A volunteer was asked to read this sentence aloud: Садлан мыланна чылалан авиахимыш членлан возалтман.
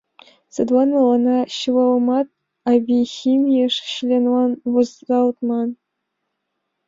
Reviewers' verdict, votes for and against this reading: rejected, 0, 2